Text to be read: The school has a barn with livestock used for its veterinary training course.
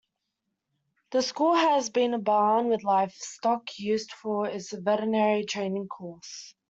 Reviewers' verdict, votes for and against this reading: rejected, 1, 2